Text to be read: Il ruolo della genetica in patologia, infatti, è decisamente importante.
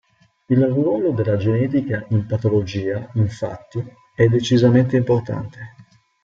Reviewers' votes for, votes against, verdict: 2, 0, accepted